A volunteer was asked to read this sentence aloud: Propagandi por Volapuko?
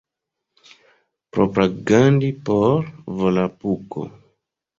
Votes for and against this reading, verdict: 0, 2, rejected